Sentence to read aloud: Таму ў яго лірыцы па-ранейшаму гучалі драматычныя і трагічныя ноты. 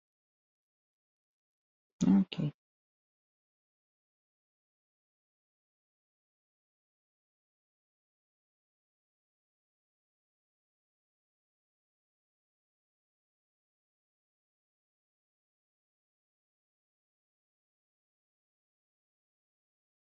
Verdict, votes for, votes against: rejected, 0, 2